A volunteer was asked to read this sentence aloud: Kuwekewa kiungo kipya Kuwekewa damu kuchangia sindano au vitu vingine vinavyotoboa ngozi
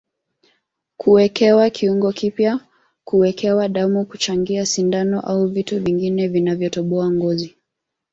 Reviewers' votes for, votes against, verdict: 1, 2, rejected